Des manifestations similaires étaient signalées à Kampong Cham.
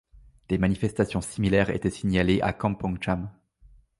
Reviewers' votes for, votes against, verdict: 2, 0, accepted